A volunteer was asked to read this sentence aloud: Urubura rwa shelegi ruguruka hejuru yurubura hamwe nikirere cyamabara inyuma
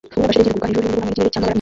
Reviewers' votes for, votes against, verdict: 0, 2, rejected